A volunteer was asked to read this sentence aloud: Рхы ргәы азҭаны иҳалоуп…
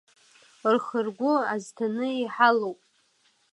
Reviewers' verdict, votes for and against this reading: accepted, 2, 0